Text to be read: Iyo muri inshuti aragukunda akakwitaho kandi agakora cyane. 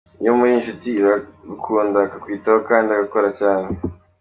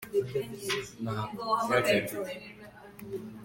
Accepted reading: first